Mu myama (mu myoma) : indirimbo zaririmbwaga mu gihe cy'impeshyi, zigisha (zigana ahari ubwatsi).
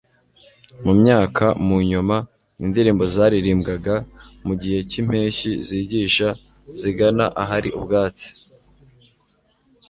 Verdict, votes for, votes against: rejected, 0, 2